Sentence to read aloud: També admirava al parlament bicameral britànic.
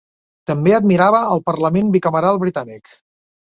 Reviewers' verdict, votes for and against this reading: accepted, 3, 0